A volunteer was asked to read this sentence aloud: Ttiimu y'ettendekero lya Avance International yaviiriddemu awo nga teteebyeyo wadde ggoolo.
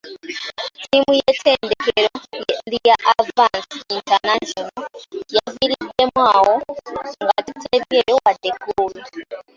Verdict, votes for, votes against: rejected, 1, 2